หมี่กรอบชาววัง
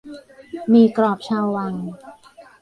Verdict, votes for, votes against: rejected, 0, 2